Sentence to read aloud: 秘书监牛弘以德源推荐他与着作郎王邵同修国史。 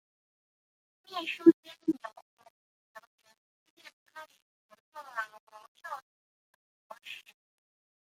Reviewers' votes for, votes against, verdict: 0, 2, rejected